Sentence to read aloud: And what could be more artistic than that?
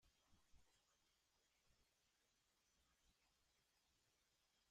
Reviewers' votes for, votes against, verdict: 0, 2, rejected